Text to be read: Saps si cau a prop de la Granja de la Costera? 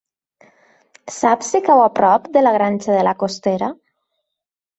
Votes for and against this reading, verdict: 3, 0, accepted